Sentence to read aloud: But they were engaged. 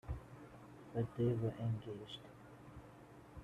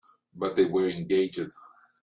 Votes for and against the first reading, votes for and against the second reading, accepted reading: 2, 1, 3, 4, first